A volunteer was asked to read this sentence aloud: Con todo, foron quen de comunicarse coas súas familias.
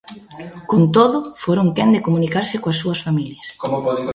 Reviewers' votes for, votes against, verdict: 1, 2, rejected